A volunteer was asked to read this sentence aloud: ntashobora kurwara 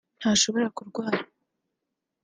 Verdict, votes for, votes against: accepted, 4, 0